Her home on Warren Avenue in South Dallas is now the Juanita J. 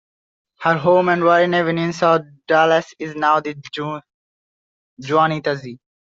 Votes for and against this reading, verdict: 1, 2, rejected